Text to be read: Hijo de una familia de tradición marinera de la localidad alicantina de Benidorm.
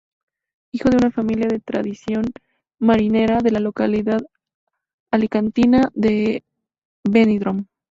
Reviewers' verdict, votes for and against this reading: accepted, 2, 0